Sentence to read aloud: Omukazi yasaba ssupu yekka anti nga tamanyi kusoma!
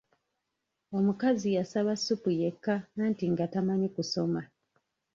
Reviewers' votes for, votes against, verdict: 0, 2, rejected